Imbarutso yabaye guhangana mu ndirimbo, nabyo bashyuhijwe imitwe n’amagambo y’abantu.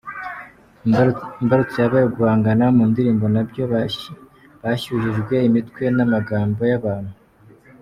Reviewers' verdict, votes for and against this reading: rejected, 1, 3